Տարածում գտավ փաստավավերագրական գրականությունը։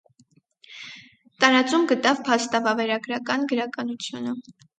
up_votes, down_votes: 4, 0